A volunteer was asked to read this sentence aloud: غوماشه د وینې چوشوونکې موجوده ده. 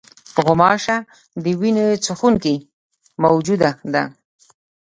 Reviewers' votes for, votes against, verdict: 2, 0, accepted